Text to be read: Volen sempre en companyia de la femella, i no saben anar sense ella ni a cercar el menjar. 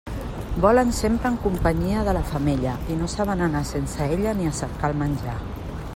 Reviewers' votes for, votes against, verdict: 3, 0, accepted